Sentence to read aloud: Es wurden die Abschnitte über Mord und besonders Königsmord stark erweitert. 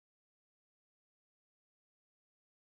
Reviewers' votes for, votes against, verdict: 0, 4, rejected